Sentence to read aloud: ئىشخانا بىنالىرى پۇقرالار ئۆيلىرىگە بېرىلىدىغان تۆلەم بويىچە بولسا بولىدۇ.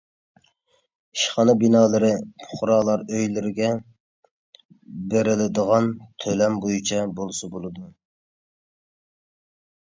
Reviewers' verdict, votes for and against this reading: accepted, 2, 0